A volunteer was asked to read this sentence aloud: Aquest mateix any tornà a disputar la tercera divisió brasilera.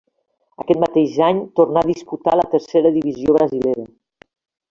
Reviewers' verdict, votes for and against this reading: rejected, 1, 2